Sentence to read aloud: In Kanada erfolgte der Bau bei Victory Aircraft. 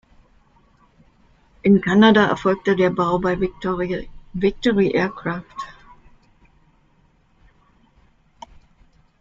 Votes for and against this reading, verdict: 0, 2, rejected